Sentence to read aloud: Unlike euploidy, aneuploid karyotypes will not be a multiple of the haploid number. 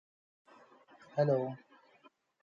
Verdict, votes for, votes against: rejected, 0, 3